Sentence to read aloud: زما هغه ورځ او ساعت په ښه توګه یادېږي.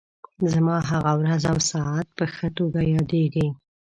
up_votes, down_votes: 1, 2